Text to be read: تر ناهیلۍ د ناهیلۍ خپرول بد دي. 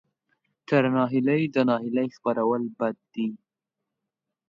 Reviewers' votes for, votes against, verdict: 2, 0, accepted